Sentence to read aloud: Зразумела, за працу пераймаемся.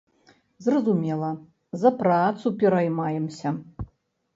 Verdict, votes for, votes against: accepted, 2, 0